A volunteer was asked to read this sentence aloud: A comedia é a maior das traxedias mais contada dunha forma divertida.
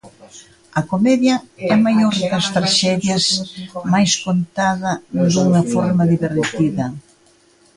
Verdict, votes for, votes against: rejected, 0, 2